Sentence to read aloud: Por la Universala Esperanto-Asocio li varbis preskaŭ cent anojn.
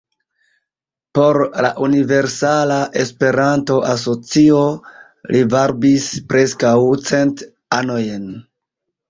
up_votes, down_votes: 1, 2